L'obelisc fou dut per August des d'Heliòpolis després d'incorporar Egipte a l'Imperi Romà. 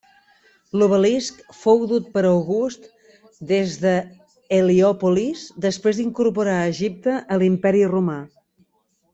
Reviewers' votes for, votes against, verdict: 1, 2, rejected